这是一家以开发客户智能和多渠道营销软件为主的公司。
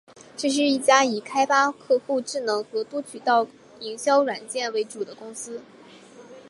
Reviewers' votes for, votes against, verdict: 3, 0, accepted